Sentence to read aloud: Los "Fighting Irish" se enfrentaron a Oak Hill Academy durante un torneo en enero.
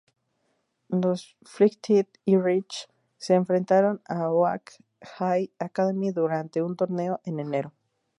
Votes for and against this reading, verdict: 2, 2, rejected